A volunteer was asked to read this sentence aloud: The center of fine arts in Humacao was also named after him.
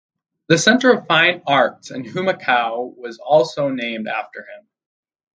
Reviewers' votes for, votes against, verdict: 4, 0, accepted